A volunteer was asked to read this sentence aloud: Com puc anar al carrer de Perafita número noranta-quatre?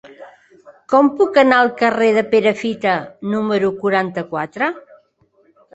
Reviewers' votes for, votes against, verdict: 0, 2, rejected